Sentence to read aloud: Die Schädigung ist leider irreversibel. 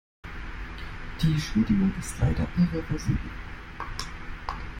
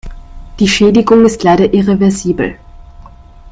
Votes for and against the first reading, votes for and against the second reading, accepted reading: 1, 2, 2, 0, second